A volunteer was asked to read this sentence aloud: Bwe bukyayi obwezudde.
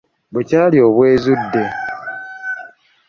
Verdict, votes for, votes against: rejected, 1, 2